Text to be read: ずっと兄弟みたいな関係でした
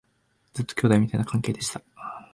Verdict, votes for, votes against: accepted, 3, 0